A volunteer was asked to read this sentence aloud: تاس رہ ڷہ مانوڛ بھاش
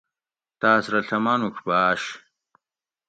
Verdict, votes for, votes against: accepted, 2, 0